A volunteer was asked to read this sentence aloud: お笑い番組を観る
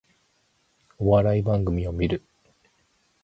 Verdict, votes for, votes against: accepted, 4, 0